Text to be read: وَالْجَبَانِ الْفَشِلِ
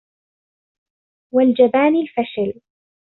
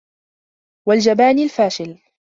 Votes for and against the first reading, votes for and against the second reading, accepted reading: 2, 0, 1, 2, first